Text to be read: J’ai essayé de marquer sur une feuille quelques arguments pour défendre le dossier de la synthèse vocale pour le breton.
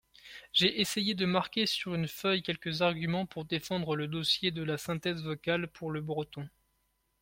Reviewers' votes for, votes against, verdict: 2, 0, accepted